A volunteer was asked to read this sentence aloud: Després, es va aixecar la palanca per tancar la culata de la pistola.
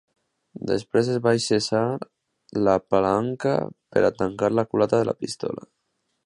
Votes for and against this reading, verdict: 1, 3, rejected